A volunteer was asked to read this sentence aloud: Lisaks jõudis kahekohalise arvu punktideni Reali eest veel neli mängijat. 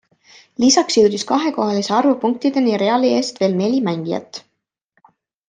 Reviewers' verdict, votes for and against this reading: accepted, 2, 0